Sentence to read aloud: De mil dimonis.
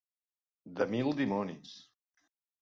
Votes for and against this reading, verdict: 2, 0, accepted